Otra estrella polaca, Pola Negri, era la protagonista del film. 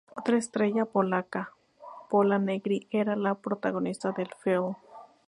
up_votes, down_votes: 2, 0